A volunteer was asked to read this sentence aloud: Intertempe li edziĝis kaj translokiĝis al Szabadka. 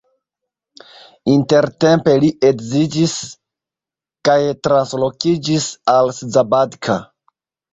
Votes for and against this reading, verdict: 2, 1, accepted